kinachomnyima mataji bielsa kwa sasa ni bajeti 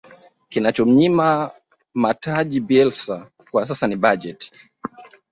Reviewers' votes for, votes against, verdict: 1, 2, rejected